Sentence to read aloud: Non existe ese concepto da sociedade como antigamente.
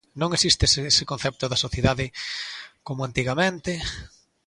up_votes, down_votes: 1, 2